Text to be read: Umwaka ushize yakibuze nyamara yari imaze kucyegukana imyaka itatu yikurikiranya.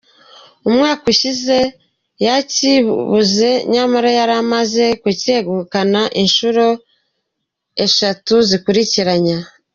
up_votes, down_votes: 0, 2